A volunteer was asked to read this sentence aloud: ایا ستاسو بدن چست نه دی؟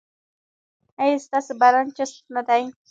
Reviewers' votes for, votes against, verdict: 2, 0, accepted